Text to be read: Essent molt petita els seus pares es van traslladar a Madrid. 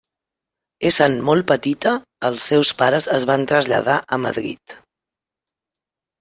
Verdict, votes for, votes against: rejected, 0, 2